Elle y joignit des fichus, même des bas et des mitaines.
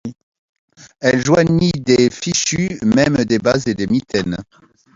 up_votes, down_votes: 1, 2